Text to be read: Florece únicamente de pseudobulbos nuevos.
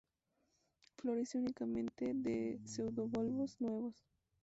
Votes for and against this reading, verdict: 2, 0, accepted